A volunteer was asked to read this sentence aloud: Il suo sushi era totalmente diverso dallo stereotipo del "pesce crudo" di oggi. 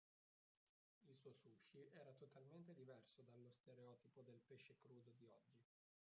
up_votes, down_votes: 0, 3